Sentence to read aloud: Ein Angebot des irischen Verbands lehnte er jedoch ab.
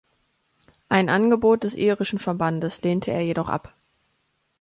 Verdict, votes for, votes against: rejected, 1, 2